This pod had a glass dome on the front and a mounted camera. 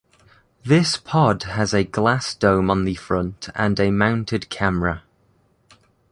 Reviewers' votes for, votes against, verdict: 0, 2, rejected